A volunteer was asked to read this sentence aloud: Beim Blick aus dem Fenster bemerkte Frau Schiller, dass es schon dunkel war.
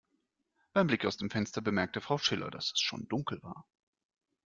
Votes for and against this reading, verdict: 2, 0, accepted